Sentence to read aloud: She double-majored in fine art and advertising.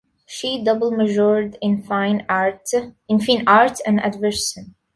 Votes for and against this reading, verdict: 0, 2, rejected